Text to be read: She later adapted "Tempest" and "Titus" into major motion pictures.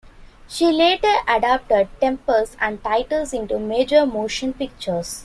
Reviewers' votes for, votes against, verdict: 2, 0, accepted